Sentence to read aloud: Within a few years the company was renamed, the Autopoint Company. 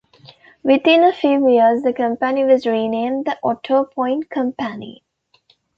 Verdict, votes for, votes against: accepted, 2, 0